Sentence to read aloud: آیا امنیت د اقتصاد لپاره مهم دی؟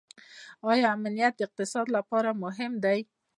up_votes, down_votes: 1, 2